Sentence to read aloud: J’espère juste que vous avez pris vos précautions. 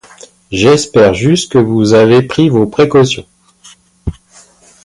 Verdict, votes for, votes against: accepted, 2, 0